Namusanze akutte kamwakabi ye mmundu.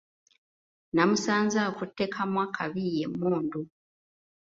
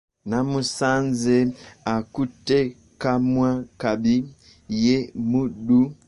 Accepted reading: first